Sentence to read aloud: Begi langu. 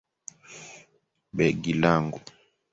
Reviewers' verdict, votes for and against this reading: accepted, 2, 1